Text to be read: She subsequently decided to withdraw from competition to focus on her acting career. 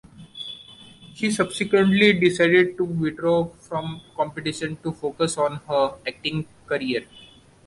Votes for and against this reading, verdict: 2, 0, accepted